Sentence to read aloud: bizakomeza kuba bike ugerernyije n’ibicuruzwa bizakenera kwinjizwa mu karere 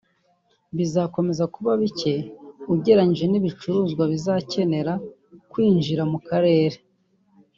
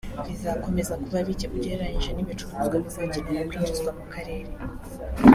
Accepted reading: second